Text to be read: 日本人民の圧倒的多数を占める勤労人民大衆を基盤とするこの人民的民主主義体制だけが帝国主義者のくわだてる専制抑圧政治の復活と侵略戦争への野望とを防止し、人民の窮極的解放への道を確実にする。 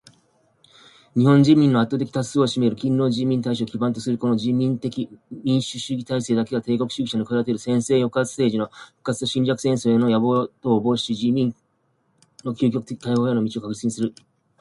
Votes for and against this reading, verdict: 2, 0, accepted